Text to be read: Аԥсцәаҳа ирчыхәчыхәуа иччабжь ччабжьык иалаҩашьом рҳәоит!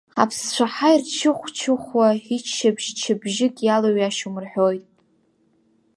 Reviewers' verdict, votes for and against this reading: rejected, 1, 2